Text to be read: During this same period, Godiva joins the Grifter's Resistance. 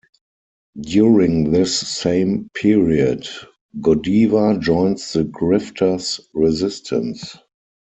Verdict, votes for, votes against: rejected, 2, 4